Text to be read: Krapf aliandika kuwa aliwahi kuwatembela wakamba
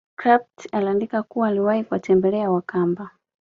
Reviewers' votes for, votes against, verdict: 2, 0, accepted